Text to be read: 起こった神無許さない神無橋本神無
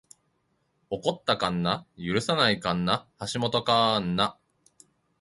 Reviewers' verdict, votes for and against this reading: accepted, 2, 1